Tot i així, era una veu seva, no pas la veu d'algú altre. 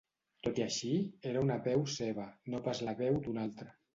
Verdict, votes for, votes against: rejected, 0, 2